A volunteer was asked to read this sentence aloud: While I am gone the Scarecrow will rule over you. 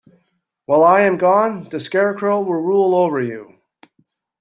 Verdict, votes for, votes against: accepted, 2, 0